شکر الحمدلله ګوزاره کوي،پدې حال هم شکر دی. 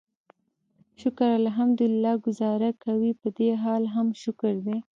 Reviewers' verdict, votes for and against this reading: rejected, 1, 2